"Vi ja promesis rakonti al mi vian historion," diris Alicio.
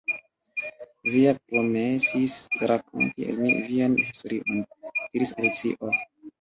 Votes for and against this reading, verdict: 0, 2, rejected